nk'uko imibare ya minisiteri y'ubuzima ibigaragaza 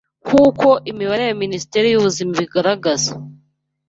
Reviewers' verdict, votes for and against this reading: rejected, 1, 2